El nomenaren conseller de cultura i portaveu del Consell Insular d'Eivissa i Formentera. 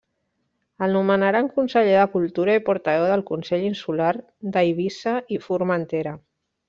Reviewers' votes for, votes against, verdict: 0, 2, rejected